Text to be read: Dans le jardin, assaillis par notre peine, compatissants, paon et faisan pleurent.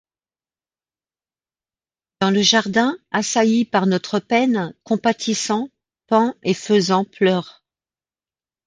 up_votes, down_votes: 3, 0